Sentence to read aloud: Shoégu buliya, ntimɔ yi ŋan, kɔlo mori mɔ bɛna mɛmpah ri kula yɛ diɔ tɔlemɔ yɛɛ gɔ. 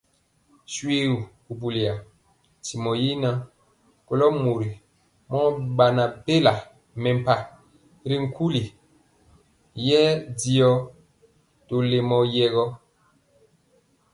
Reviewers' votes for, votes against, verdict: 2, 0, accepted